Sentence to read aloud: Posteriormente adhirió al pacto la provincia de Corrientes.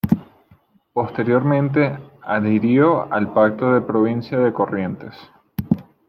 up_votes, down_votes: 0, 2